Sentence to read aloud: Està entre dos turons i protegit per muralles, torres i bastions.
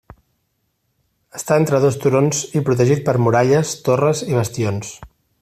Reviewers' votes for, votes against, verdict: 3, 0, accepted